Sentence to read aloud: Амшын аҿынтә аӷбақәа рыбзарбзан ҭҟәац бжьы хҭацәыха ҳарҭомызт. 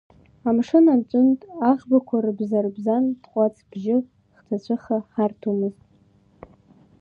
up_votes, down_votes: 0, 2